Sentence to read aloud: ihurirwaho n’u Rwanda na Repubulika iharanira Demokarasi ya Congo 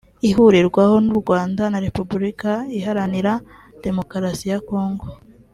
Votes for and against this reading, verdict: 3, 0, accepted